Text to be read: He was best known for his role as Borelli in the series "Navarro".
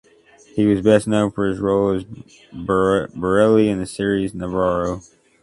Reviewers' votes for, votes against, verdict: 0, 2, rejected